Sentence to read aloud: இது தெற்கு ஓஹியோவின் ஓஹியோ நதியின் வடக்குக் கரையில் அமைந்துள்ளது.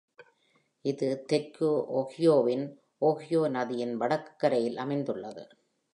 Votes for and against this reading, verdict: 2, 0, accepted